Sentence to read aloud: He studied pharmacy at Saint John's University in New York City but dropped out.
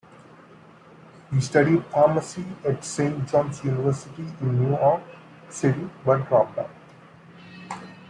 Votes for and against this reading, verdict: 2, 0, accepted